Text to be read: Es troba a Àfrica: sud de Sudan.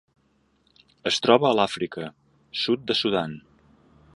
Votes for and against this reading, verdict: 0, 2, rejected